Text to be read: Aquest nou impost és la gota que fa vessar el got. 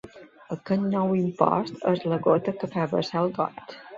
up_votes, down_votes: 0, 2